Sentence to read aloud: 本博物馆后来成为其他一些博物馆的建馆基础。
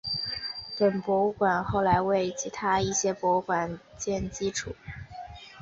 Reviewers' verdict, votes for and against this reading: accepted, 2, 1